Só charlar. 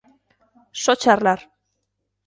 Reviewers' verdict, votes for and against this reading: accepted, 2, 0